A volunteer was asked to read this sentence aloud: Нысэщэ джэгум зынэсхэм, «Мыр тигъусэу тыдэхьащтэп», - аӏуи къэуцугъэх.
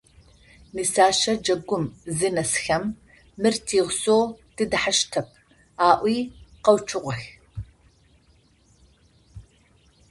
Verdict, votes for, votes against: accepted, 2, 0